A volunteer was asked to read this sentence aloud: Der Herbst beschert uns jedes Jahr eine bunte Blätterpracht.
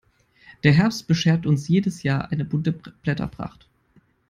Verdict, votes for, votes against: rejected, 2, 3